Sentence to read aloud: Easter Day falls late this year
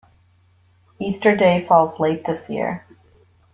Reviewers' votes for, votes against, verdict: 2, 0, accepted